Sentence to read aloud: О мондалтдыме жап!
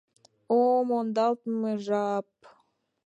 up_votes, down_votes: 0, 2